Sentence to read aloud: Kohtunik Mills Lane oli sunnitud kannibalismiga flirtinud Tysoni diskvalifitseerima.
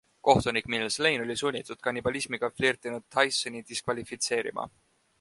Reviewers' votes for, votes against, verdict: 2, 0, accepted